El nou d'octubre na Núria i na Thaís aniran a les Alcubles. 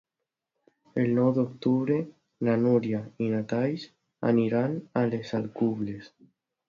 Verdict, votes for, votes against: rejected, 0, 2